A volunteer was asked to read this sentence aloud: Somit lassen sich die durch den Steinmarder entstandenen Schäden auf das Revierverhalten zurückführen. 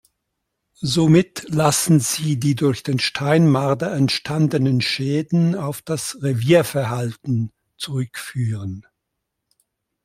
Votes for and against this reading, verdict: 0, 2, rejected